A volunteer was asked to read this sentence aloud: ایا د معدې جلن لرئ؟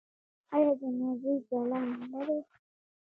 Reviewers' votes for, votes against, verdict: 1, 2, rejected